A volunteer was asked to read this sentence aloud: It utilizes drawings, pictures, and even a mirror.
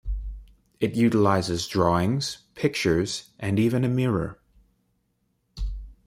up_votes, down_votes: 2, 0